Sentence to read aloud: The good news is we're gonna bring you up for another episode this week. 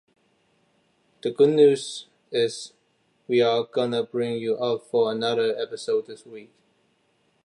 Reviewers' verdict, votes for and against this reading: rejected, 0, 2